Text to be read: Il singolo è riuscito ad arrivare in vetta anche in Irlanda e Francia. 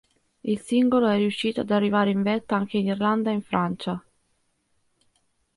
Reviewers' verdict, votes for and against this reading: rejected, 1, 2